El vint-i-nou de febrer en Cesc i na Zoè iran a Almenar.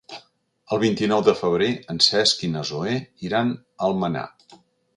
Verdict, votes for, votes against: accepted, 2, 0